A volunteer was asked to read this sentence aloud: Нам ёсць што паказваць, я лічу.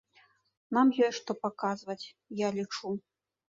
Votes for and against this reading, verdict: 2, 0, accepted